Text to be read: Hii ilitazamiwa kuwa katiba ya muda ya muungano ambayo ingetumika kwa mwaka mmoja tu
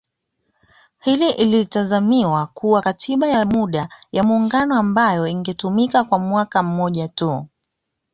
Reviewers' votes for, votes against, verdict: 2, 0, accepted